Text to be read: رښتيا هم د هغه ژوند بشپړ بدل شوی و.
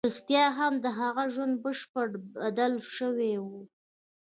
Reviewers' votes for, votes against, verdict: 1, 2, rejected